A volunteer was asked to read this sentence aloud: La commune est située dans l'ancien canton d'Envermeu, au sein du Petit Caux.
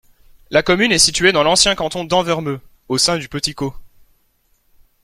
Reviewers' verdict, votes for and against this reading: accepted, 2, 0